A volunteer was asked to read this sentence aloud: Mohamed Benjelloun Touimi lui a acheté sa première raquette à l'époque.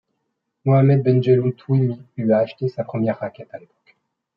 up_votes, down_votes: 2, 0